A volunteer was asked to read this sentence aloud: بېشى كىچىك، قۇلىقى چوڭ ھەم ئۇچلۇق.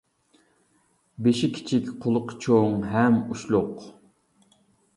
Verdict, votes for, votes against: accepted, 2, 0